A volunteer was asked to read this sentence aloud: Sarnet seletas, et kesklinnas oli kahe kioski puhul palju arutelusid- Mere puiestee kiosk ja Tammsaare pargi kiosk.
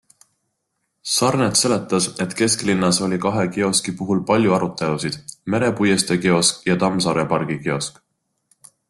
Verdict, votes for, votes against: accepted, 2, 0